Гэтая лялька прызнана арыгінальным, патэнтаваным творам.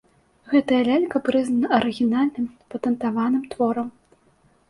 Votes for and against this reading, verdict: 2, 0, accepted